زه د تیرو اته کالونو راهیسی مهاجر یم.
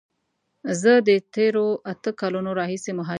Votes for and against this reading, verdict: 0, 2, rejected